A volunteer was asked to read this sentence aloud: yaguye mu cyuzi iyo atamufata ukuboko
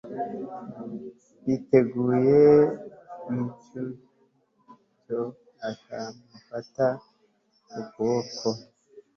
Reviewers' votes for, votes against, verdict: 0, 3, rejected